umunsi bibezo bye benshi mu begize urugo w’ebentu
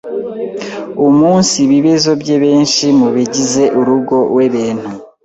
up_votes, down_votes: 0, 2